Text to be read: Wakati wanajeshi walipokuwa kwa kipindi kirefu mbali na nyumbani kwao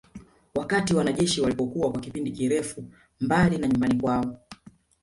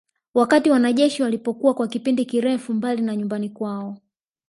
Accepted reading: second